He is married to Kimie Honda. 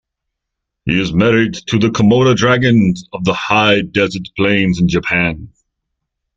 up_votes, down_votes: 0, 3